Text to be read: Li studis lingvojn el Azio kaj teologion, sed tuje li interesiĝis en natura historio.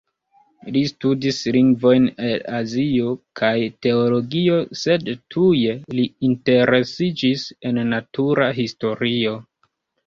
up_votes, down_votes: 0, 2